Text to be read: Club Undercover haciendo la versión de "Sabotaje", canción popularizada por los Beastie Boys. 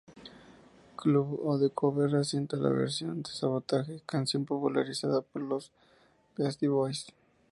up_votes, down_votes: 0, 4